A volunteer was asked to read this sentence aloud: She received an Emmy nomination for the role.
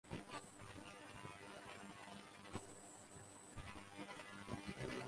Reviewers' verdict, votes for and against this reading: rejected, 0, 2